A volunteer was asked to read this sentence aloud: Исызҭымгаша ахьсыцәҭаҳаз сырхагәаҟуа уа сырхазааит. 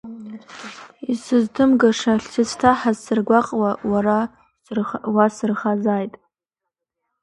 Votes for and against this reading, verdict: 1, 2, rejected